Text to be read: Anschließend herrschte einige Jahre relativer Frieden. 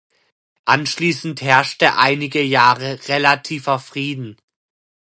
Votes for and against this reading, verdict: 2, 0, accepted